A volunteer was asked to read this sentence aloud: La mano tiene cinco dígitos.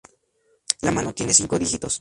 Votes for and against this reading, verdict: 0, 2, rejected